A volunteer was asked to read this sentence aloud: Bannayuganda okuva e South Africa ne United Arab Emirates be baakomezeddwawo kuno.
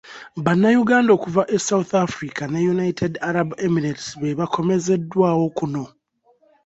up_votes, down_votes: 2, 0